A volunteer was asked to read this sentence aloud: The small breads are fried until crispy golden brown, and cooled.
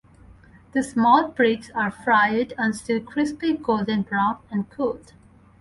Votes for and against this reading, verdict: 2, 2, rejected